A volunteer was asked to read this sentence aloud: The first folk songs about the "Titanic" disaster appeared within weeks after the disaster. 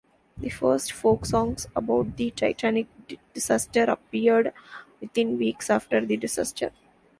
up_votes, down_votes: 2, 0